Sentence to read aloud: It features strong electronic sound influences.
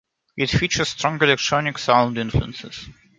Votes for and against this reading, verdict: 2, 0, accepted